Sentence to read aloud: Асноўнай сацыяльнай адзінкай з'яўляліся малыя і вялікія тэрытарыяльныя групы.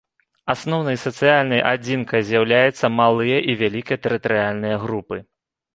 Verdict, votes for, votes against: rejected, 0, 2